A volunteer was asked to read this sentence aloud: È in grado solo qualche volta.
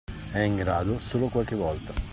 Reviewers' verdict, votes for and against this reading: accepted, 2, 0